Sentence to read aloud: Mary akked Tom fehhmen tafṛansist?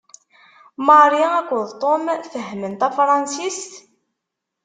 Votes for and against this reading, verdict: 2, 0, accepted